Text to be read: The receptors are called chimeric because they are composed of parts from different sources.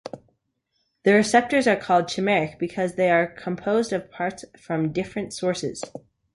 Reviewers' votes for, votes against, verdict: 2, 0, accepted